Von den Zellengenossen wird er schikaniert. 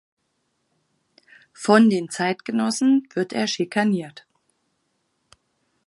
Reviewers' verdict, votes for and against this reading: rejected, 0, 4